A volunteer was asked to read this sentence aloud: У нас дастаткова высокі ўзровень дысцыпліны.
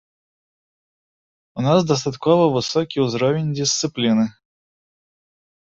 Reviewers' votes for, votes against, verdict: 1, 2, rejected